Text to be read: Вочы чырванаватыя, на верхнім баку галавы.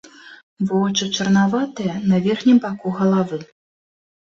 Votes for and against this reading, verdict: 0, 2, rejected